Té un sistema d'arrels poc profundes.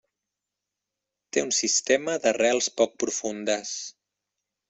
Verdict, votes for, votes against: accepted, 2, 0